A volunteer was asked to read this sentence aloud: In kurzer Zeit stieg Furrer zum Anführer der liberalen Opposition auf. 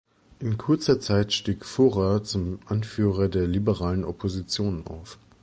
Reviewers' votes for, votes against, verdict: 3, 0, accepted